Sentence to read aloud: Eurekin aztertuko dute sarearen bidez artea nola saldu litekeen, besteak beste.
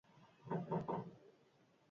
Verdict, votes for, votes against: rejected, 0, 6